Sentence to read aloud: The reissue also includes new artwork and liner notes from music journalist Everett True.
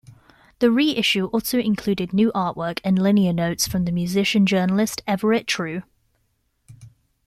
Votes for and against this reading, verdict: 1, 2, rejected